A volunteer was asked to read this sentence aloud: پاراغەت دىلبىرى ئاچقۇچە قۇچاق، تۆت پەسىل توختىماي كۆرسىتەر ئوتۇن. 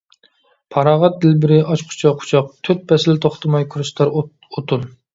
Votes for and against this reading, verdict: 0, 2, rejected